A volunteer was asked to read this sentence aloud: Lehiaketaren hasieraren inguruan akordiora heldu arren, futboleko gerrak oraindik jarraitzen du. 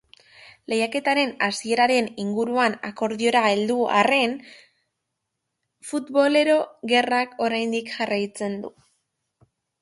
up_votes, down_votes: 0, 2